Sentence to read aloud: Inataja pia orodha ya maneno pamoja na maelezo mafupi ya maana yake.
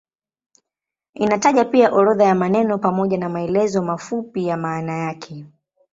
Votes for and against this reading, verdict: 2, 0, accepted